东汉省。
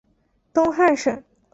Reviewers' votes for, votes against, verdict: 3, 0, accepted